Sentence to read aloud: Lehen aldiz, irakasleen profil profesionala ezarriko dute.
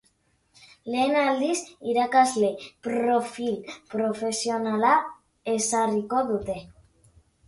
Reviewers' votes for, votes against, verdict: 0, 3, rejected